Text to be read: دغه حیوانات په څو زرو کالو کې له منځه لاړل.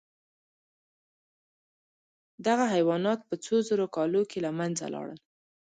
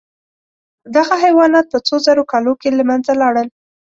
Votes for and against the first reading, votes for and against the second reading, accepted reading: 0, 2, 2, 0, second